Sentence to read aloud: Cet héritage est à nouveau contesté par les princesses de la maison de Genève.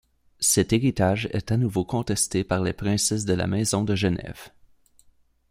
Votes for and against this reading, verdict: 2, 0, accepted